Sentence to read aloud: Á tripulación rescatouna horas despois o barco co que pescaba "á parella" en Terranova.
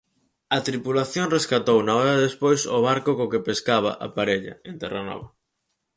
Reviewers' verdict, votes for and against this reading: accepted, 4, 0